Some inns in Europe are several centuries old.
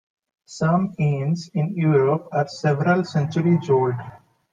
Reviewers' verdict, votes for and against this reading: accepted, 2, 0